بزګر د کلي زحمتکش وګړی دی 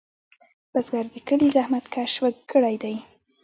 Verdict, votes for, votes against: rejected, 0, 3